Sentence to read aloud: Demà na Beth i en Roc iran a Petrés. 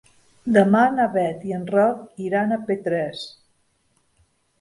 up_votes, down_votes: 2, 0